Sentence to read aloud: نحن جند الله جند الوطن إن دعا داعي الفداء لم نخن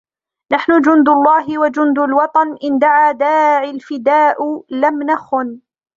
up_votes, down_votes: 1, 2